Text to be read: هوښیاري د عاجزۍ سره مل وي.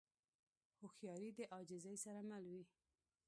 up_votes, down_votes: 1, 2